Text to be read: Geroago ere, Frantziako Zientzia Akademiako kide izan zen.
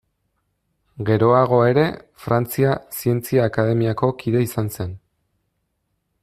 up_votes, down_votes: 0, 2